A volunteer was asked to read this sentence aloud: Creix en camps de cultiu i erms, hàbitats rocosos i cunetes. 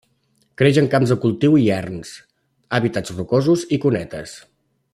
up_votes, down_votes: 2, 0